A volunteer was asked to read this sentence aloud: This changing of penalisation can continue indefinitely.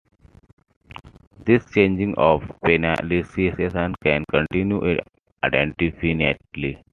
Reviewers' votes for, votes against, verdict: 2, 1, accepted